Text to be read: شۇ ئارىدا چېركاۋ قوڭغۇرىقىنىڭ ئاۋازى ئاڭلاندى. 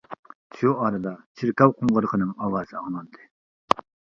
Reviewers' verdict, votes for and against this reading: accepted, 2, 0